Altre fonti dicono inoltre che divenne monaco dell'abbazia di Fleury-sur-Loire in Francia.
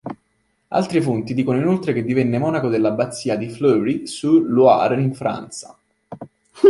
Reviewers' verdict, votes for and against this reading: rejected, 0, 2